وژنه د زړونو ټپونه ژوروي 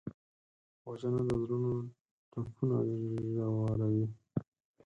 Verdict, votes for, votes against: rejected, 0, 4